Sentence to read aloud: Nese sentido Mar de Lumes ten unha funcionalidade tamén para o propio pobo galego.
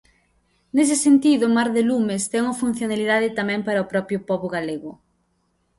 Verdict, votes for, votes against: accepted, 2, 0